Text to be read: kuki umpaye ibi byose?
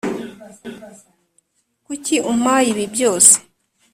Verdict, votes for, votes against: accepted, 2, 0